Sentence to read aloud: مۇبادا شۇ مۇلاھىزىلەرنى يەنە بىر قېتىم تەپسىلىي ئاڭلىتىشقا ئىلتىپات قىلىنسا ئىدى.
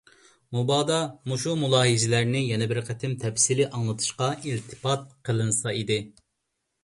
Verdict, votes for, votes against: rejected, 1, 2